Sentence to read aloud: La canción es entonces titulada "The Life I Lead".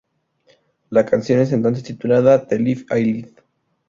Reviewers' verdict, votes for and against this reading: rejected, 0, 2